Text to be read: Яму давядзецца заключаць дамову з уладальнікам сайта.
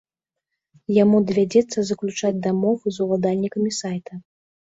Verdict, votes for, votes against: rejected, 1, 2